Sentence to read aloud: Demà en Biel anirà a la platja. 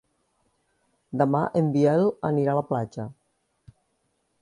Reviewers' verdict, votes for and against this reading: accepted, 2, 0